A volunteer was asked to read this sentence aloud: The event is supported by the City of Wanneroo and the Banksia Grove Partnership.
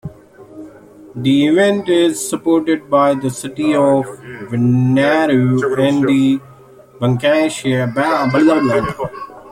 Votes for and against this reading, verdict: 2, 1, accepted